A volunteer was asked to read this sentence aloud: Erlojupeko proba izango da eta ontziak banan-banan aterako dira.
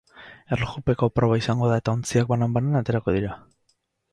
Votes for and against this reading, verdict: 0, 4, rejected